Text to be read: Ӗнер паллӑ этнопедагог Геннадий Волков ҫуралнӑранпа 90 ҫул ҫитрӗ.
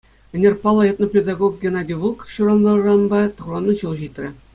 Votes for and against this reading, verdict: 0, 2, rejected